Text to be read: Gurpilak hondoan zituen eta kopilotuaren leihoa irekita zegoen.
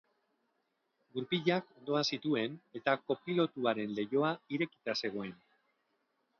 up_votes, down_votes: 0, 2